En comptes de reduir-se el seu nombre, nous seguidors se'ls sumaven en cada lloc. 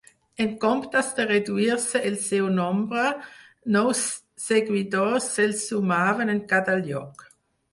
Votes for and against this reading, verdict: 2, 4, rejected